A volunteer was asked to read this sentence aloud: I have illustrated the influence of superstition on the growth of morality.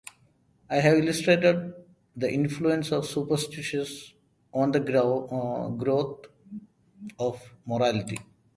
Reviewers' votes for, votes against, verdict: 0, 2, rejected